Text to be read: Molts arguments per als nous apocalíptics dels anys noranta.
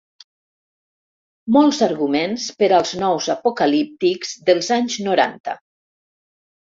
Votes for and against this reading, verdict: 3, 0, accepted